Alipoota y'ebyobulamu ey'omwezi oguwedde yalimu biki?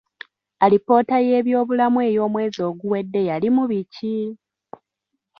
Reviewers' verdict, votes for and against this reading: accepted, 2, 1